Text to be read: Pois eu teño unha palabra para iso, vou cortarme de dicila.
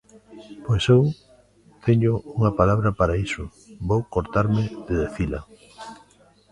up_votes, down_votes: 0, 2